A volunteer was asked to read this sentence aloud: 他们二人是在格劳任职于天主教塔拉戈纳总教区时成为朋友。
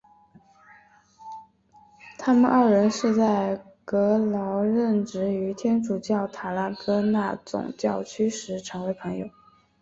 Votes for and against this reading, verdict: 5, 1, accepted